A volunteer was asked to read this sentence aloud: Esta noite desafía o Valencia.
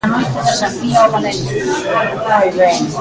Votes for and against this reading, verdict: 0, 2, rejected